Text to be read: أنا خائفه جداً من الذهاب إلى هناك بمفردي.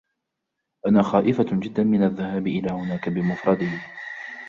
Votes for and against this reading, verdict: 3, 0, accepted